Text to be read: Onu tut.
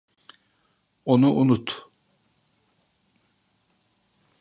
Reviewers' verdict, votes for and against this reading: rejected, 0, 2